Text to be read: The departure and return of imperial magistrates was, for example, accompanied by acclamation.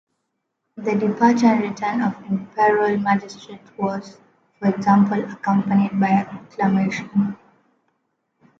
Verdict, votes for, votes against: accepted, 2, 0